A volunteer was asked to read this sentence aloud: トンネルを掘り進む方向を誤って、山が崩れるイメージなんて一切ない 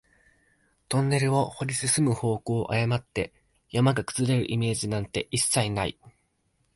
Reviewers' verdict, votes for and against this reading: accepted, 2, 0